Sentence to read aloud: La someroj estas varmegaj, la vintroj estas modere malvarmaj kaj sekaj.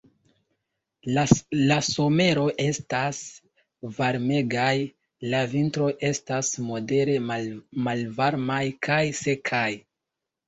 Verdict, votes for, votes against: rejected, 1, 2